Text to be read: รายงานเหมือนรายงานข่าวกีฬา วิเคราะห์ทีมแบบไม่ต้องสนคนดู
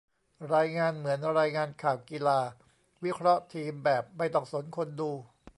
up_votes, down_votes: 2, 0